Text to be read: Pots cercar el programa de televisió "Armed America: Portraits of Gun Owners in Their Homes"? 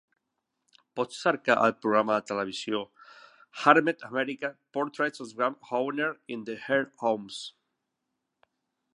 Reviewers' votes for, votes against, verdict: 1, 2, rejected